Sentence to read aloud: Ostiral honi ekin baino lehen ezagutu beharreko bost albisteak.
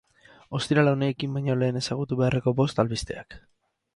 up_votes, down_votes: 4, 0